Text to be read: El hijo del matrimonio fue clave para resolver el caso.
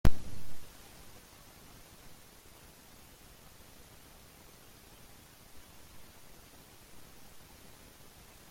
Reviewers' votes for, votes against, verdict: 0, 2, rejected